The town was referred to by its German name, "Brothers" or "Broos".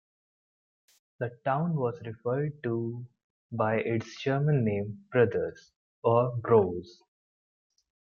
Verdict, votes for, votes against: accepted, 2, 0